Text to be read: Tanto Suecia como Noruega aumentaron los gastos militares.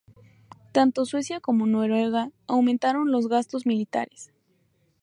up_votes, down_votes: 2, 0